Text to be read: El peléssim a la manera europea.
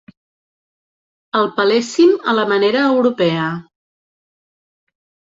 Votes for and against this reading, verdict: 2, 0, accepted